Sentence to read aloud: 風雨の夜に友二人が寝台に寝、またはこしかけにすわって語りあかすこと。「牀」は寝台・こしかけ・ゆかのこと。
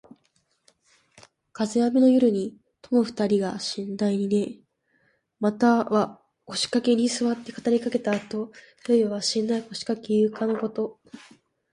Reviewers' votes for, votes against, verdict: 3, 1, accepted